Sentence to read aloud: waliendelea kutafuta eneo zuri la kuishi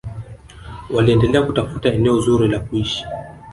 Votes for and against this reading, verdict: 0, 2, rejected